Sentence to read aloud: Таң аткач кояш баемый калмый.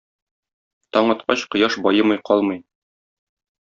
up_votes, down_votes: 2, 0